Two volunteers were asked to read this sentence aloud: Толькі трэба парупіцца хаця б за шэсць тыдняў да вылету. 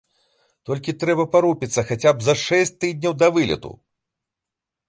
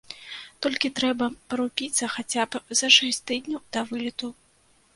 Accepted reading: first